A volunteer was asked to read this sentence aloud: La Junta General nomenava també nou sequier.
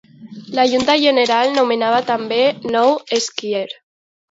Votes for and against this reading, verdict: 2, 0, accepted